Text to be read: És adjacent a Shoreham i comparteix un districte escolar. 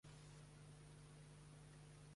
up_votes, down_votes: 0, 2